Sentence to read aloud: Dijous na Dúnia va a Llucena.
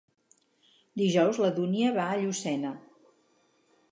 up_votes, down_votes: 0, 4